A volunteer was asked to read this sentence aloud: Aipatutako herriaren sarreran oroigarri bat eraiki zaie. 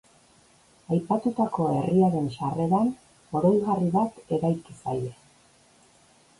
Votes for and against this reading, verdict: 3, 0, accepted